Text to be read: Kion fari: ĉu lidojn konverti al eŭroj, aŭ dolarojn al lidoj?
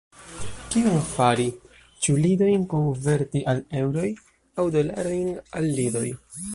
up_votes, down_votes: 0, 2